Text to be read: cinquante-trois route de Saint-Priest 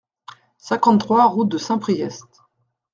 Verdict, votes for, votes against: accepted, 2, 0